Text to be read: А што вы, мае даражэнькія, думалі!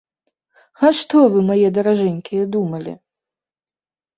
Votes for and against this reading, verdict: 2, 0, accepted